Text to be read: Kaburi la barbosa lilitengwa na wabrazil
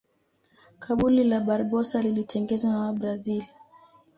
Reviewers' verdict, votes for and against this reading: accepted, 2, 0